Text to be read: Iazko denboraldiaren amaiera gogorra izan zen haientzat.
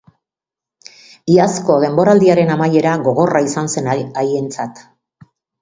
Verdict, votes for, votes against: rejected, 0, 2